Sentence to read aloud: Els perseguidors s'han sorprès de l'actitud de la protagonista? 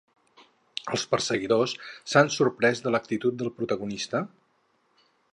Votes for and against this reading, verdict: 2, 2, rejected